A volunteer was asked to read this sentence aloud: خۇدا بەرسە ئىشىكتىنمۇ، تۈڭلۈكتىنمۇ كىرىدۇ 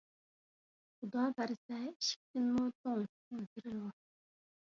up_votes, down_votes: 0, 2